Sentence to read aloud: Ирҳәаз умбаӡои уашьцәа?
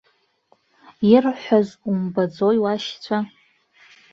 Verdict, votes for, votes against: accepted, 2, 0